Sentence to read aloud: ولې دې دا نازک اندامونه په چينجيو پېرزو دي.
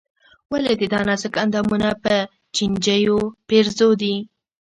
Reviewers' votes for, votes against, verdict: 2, 0, accepted